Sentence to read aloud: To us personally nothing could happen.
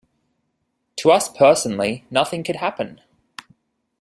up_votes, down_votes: 2, 0